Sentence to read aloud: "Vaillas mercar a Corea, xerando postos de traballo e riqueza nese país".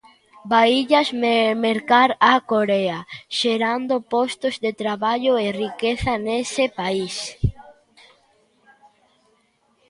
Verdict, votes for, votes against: rejected, 0, 2